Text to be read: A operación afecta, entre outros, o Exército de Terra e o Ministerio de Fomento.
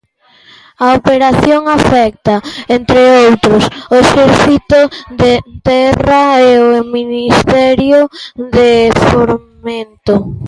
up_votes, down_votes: 0, 2